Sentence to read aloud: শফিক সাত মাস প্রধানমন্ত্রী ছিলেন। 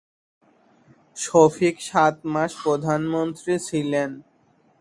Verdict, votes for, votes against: accepted, 2, 0